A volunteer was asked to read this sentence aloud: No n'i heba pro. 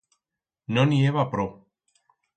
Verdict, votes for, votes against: accepted, 4, 0